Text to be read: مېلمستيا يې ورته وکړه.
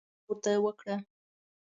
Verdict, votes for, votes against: rejected, 0, 2